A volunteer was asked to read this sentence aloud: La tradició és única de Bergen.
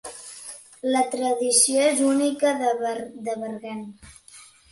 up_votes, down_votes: 1, 3